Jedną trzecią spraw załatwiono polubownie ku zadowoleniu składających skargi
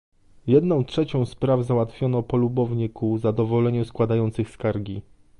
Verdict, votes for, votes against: rejected, 1, 2